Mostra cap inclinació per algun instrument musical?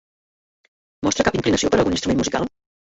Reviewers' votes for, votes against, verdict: 0, 2, rejected